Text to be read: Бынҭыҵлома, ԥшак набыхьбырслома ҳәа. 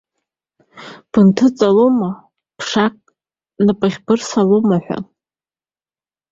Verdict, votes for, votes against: rejected, 1, 2